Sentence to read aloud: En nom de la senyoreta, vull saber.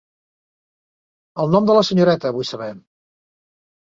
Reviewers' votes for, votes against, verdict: 1, 2, rejected